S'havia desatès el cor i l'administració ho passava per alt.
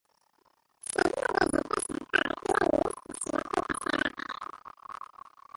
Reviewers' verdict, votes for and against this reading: rejected, 0, 2